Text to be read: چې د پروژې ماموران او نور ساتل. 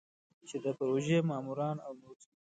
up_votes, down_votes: 2, 0